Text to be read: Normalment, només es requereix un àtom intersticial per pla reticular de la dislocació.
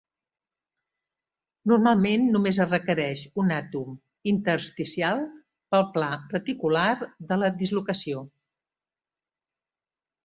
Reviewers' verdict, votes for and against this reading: rejected, 1, 2